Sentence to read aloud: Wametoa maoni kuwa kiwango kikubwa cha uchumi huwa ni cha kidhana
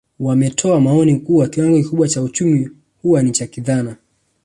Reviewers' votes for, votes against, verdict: 1, 2, rejected